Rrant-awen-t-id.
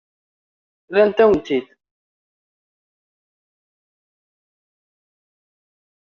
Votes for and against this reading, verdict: 0, 2, rejected